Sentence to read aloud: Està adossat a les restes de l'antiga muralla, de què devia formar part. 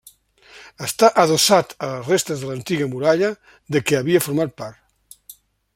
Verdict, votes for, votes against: rejected, 0, 2